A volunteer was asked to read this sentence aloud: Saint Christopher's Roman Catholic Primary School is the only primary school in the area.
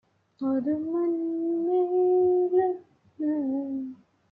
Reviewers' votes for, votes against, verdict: 0, 2, rejected